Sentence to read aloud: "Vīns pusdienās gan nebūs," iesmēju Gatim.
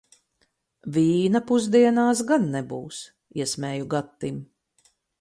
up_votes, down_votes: 0, 4